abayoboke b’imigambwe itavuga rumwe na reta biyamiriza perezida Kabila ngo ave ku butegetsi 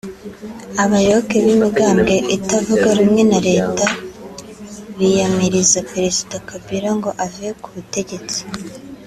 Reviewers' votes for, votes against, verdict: 3, 0, accepted